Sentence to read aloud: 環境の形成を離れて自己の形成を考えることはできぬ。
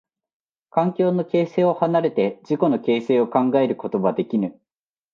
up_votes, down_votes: 2, 1